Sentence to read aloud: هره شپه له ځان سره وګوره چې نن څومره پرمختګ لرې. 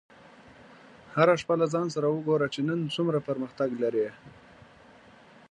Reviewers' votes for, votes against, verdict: 2, 0, accepted